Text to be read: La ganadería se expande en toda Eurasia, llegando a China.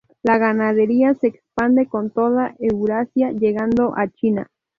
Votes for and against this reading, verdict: 2, 2, rejected